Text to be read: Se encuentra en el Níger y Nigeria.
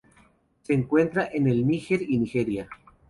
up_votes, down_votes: 2, 0